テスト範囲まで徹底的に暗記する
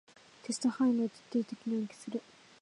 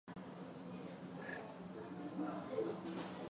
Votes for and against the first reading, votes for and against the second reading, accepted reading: 2, 1, 0, 2, first